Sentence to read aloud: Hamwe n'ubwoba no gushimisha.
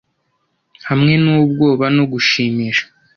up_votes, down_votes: 2, 0